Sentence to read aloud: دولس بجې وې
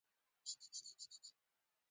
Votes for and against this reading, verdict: 0, 2, rejected